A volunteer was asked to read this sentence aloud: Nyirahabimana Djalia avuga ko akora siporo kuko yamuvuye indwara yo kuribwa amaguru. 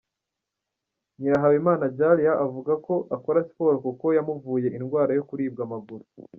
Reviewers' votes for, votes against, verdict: 2, 1, accepted